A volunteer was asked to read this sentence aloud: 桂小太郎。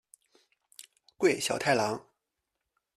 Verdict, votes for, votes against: accepted, 2, 0